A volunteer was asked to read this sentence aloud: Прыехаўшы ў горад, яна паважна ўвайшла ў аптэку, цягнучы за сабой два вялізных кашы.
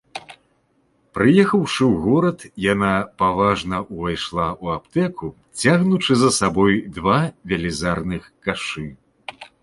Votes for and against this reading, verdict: 1, 2, rejected